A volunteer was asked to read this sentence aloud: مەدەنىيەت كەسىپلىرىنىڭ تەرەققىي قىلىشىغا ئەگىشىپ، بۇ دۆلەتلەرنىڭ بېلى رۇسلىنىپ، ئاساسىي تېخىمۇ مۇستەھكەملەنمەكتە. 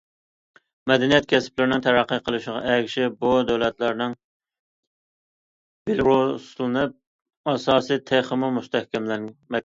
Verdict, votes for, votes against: rejected, 0, 2